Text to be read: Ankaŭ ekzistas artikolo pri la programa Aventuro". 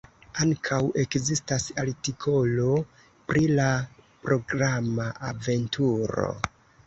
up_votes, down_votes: 2, 0